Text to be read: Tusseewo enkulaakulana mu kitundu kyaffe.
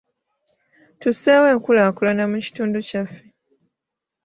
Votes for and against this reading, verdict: 0, 2, rejected